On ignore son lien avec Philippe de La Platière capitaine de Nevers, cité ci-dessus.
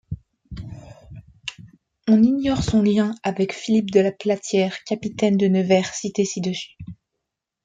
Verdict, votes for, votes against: rejected, 0, 2